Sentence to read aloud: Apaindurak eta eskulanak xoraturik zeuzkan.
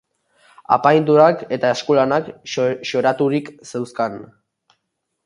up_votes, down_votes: 4, 2